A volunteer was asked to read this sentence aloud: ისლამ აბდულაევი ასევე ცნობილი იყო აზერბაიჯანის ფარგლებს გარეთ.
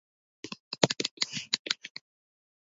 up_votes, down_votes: 1, 2